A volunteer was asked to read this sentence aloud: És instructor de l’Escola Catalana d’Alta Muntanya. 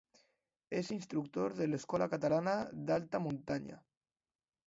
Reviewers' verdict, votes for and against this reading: accepted, 2, 0